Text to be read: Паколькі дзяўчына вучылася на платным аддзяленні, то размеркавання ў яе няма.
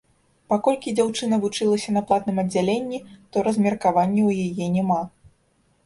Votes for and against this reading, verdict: 2, 0, accepted